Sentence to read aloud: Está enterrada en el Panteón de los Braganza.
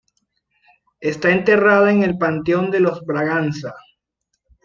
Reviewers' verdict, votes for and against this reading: accepted, 2, 0